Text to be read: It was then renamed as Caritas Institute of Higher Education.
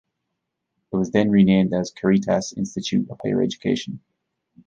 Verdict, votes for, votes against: rejected, 1, 2